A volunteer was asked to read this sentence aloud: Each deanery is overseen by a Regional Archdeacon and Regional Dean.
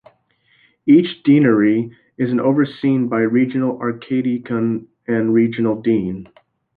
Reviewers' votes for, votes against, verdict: 2, 2, rejected